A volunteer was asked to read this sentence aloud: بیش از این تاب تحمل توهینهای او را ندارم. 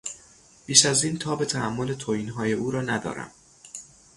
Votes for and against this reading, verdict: 3, 0, accepted